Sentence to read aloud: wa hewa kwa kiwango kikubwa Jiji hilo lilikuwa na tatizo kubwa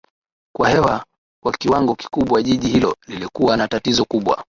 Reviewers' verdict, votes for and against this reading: rejected, 1, 2